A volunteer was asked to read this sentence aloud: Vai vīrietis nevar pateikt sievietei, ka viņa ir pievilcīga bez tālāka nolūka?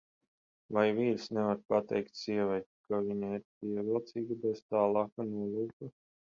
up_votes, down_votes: 0, 10